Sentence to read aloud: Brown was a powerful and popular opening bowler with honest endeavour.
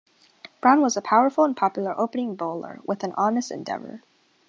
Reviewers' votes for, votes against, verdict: 2, 0, accepted